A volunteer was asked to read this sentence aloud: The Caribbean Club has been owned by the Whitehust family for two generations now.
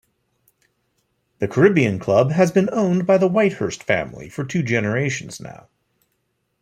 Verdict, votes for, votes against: accepted, 2, 1